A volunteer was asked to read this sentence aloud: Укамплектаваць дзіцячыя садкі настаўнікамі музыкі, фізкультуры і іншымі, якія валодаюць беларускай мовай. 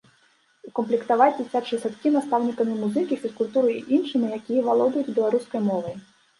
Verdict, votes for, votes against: rejected, 1, 2